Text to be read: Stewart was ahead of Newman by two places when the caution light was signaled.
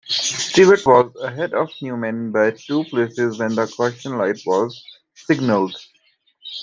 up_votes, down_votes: 2, 0